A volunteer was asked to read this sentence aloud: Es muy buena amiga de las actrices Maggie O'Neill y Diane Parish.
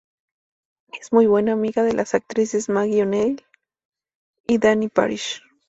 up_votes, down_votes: 0, 2